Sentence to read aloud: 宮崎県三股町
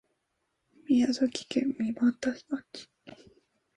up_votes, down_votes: 1, 2